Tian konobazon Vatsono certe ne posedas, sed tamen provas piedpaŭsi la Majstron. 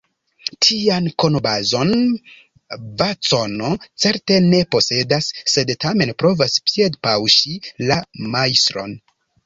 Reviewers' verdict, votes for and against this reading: rejected, 1, 2